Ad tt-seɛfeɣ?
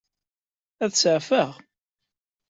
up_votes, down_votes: 1, 2